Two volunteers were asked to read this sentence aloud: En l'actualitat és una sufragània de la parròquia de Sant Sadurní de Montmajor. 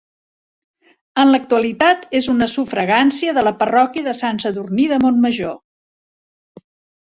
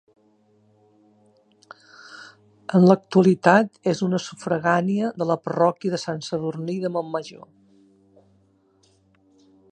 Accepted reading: second